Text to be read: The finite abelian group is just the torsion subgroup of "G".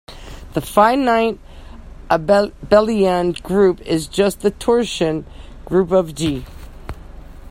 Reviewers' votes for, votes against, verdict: 0, 2, rejected